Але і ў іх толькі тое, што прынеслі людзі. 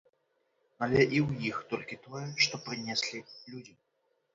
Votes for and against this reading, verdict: 2, 0, accepted